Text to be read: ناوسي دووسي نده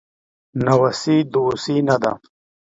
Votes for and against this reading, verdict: 2, 0, accepted